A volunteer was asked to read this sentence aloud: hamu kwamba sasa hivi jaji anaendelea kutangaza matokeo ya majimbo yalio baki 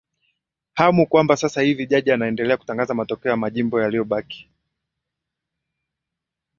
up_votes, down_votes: 3, 0